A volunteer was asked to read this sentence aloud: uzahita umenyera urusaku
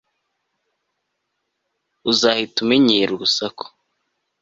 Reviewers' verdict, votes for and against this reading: accepted, 2, 0